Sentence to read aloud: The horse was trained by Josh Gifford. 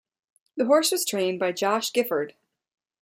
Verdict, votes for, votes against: accepted, 2, 0